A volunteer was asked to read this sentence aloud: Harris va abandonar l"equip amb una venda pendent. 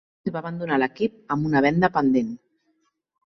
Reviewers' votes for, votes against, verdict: 0, 2, rejected